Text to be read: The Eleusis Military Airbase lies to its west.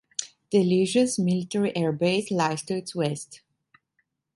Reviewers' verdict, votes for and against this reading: accepted, 2, 0